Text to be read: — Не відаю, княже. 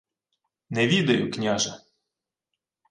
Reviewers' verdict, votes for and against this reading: accepted, 2, 0